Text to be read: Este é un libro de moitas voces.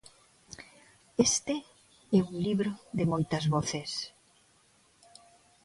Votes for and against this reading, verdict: 2, 0, accepted